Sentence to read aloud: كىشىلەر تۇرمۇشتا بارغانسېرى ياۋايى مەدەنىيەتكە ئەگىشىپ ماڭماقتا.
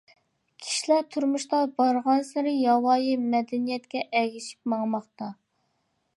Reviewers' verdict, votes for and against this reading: accepted, 2, 0